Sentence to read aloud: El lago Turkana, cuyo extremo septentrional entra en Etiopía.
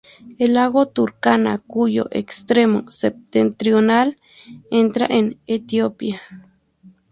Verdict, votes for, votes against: accepted, 2, 0